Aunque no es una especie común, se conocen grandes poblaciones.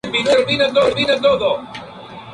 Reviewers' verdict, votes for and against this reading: rejected, 0, 2